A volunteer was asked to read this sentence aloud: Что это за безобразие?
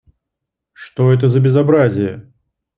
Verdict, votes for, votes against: accepted, 2, 0